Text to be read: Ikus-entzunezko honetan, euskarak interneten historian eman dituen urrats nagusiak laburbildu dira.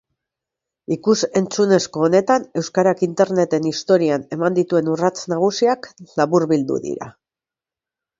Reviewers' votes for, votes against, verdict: 2, 0, accepted